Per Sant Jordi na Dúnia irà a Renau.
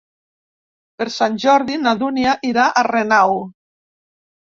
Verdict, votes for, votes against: accepted, 2, 0